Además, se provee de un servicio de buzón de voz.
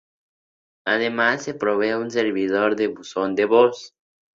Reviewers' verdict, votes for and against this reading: rejected, 0, 6